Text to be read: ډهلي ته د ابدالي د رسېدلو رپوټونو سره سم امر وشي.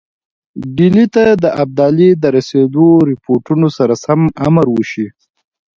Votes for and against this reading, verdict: 2, 0, accepted